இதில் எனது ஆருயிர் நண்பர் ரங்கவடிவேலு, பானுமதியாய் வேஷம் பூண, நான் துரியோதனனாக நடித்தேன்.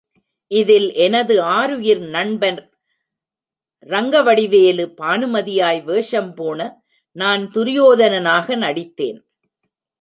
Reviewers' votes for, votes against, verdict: 1, 2, rejected